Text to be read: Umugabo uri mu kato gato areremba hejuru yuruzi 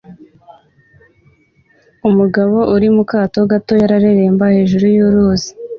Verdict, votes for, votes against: accepted, 2, 0